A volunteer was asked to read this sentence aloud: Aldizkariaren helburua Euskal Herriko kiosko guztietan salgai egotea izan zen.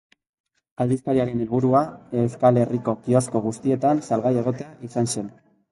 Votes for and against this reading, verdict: 2, 0, accepted